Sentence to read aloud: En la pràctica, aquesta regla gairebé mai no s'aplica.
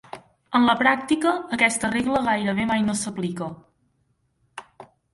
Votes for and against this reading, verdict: 3, 1, accepted